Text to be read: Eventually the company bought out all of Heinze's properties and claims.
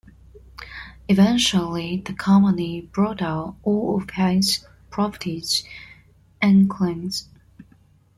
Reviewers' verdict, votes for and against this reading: rejected, 1, 2